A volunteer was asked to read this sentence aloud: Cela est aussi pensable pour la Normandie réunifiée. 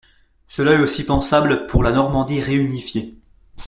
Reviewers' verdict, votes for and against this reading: accepted, 2, 0